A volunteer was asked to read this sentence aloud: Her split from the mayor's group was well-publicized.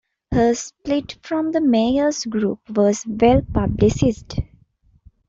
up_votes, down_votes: 1, 2